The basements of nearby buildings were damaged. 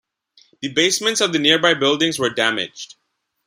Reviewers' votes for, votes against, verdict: 2, 1, accepted